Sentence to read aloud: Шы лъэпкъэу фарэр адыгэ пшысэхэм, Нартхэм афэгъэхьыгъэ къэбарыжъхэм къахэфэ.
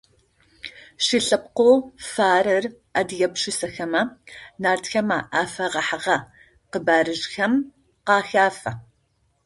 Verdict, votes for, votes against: rejected, 0, 2